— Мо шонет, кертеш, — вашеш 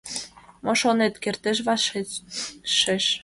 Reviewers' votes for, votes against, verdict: 0, 2, rejected